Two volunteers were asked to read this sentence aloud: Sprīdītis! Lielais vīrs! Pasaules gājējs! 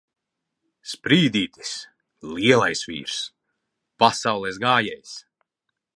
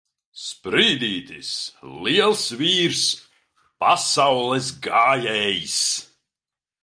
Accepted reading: first